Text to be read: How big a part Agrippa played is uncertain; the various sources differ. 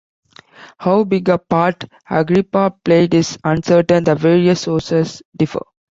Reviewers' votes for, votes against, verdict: 2, 0, accepted